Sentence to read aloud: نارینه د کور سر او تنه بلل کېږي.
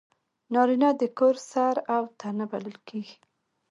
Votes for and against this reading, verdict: 1, 2, rejected